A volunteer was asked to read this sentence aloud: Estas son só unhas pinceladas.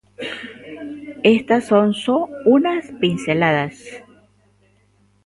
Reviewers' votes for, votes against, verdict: 1, 2, rejected